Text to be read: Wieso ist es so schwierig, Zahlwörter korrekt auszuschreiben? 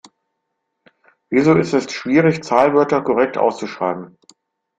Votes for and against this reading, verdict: 0, 2, rejected